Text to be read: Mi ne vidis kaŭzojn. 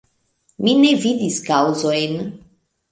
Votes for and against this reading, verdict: 0, 2, rejected